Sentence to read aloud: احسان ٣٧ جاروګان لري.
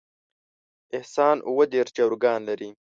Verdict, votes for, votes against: rejected, 0, 2